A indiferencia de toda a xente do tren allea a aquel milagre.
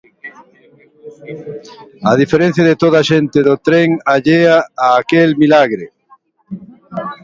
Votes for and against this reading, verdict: 0, 2, rejected